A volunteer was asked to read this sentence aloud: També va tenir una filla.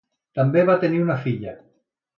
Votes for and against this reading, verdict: 2, 0, accepted